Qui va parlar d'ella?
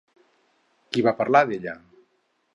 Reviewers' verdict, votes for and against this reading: accepted, 4, 0